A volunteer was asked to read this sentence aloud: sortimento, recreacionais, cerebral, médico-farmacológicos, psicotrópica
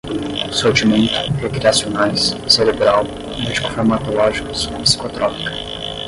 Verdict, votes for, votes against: rejected, 0, 10